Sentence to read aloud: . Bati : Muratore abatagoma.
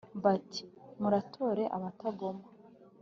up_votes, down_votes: 2, 0